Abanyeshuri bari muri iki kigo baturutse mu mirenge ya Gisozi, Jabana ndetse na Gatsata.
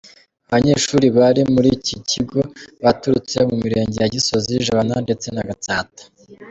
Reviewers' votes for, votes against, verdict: 2, 0, accepted